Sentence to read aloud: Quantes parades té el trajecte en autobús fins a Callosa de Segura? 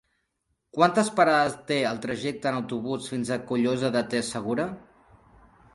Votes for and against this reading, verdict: 0, 2, rejected